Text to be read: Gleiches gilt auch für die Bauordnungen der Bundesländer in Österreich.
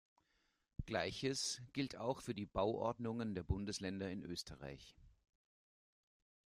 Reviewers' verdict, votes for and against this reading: rejected, 0, 2